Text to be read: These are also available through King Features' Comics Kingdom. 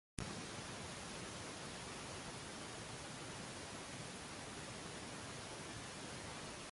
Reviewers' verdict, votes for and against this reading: rejected, 0, 3